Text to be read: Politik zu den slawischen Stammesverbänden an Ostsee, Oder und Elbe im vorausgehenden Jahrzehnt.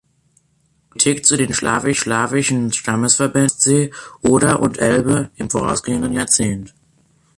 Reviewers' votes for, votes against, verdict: 0, 3, rejected